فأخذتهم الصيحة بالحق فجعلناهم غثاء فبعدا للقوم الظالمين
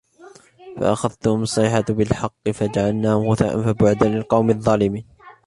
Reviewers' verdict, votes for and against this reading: accepted, 2, 1